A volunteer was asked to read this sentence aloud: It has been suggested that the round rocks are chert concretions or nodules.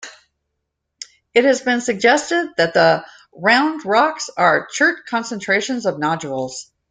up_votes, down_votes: 1, 2